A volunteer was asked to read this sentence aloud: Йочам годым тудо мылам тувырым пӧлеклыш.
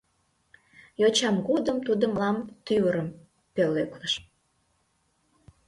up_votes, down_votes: 0, 2